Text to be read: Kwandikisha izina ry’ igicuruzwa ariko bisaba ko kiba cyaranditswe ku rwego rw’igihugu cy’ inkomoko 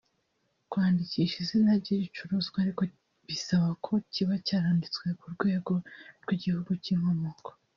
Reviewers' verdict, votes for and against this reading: rejected, 1, 2